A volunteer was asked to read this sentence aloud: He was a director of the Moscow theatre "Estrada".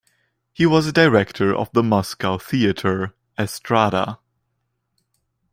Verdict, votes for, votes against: accepted, 2, 0